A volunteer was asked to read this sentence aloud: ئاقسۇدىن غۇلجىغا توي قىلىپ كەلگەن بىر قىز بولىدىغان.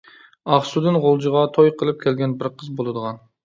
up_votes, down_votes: 2, 0